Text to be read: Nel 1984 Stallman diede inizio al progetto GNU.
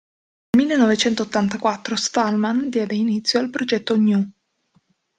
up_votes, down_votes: 0, 2